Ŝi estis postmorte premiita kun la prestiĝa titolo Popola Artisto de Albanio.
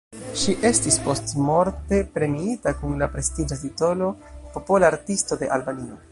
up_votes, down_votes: 1, 2